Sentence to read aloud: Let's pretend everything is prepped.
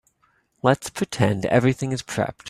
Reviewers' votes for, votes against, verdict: 2, 0, accepted